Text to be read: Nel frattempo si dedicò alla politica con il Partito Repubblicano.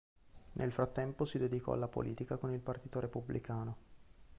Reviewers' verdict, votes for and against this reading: accepted, 2, 0